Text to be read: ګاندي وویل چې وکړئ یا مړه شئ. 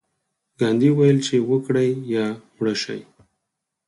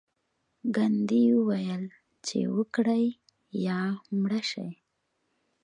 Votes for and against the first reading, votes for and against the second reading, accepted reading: 2, 4, 2, 0, second